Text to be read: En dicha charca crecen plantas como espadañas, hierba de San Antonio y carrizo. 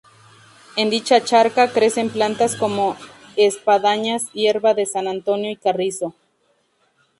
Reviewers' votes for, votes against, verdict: 4, 0, accepted